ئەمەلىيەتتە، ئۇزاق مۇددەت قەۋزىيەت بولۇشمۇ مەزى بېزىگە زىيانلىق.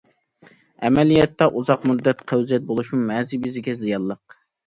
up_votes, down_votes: 2, 0